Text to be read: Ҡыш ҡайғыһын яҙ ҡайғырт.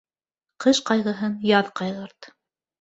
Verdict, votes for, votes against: accepted, 2, 0